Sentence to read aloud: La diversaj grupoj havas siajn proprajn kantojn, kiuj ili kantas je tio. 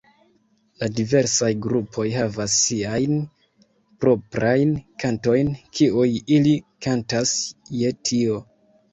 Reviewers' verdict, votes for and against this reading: rejected, 0, 2